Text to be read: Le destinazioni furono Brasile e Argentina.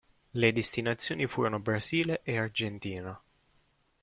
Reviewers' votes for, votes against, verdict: 2, 1, accepted